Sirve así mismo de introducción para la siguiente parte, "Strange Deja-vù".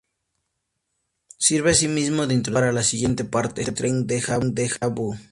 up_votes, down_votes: 0, 2